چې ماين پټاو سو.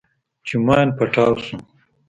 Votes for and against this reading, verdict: 2, 0, accepted